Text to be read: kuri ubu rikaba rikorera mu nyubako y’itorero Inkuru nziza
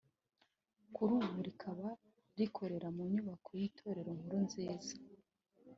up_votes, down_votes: 3, 0